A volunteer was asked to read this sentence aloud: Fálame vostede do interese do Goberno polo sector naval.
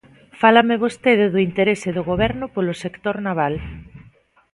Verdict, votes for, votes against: accepted, 2, 0